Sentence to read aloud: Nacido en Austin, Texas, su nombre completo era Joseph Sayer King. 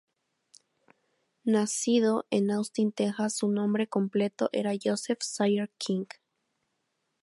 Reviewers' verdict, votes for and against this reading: accepted, 4, 0